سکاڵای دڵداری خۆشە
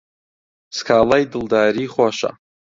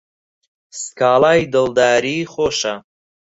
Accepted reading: second